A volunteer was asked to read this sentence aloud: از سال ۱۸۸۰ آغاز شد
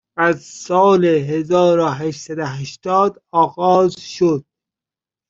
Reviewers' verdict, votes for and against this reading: rejected, 0, 2